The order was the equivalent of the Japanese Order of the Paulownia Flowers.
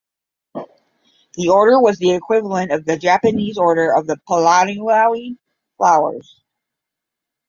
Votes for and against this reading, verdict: 0, 10, rejected